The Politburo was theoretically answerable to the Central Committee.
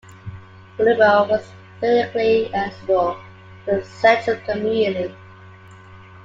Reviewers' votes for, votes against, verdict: 1, 2, rejected